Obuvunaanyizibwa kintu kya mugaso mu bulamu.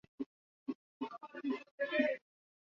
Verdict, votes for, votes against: rejected, 0, 2